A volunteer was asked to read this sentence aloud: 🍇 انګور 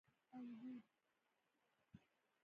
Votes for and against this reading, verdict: 0, 2, rejected